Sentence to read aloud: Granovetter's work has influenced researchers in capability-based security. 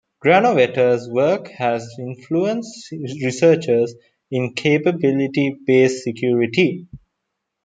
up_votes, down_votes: 2, 0